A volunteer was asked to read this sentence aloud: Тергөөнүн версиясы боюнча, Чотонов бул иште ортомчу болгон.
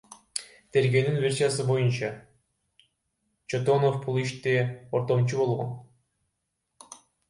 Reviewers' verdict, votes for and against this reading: rejected, 0, 2